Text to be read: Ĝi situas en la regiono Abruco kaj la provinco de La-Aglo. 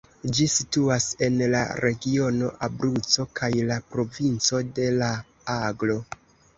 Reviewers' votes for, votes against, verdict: 2, 1, accepted